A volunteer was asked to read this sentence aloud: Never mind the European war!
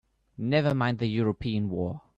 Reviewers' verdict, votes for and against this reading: accepted, 3, 1